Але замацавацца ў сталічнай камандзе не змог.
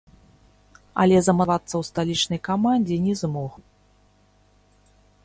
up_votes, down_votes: 0, 3